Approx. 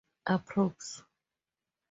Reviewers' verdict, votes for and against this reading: accepted, 2, 0